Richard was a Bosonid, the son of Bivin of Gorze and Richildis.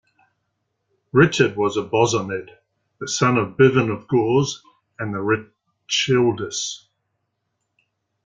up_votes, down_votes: 1, 2